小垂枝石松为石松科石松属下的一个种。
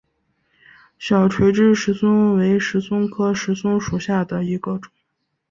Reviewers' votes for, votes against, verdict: 4, 0, accepted